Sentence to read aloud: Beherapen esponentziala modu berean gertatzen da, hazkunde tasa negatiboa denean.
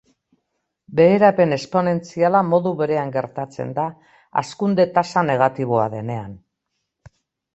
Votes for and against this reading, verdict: 2, 0, accepted